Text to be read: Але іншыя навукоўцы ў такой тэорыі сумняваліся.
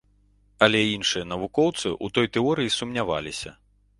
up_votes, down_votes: 1, 2